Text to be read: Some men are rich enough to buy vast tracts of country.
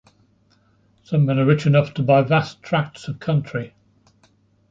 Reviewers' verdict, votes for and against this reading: accepted, 2, 0